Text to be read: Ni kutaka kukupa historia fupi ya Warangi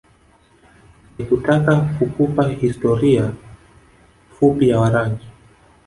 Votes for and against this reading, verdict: 1, 2, rejected